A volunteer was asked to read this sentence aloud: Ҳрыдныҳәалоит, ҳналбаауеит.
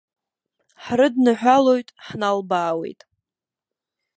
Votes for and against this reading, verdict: 2, 0, accepted